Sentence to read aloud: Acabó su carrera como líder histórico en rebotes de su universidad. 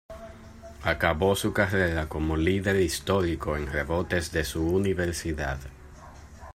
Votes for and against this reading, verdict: 2, 0, accepted